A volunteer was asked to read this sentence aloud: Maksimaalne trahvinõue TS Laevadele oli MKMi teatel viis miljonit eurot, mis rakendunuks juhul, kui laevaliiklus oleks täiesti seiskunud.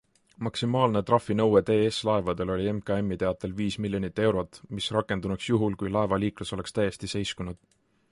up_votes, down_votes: 2, 0